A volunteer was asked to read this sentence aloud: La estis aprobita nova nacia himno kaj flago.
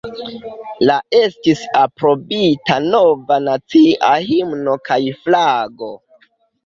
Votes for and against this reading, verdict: 1, 2, rejected